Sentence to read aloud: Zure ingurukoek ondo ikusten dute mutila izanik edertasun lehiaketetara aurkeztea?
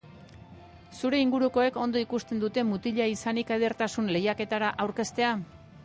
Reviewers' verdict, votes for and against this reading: accepted, 2, 0